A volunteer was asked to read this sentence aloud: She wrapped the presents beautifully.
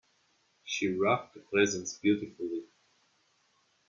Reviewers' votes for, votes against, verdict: 2, 0, accepted